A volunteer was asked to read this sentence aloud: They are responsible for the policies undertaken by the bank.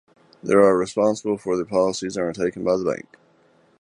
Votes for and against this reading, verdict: 1, 3, rejected